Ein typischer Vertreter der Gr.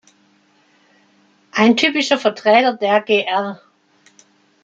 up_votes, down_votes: 2, 1